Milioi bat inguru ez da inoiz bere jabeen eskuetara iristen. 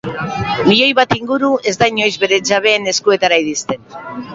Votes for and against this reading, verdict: 3, 0, accepted